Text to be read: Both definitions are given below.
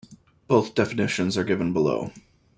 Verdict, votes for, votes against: accepted, 2, 0